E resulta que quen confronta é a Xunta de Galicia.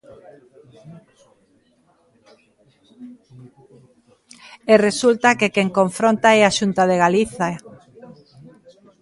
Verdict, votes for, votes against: rejected, 0, 2